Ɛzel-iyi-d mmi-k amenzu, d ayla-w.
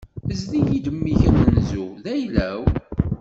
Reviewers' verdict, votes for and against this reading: accepted, 2, 1